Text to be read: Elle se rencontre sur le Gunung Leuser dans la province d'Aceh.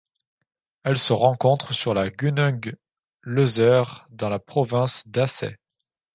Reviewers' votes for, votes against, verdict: 1, 3, rejected